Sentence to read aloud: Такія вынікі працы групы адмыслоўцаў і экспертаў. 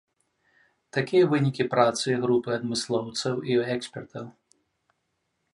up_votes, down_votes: 2, 0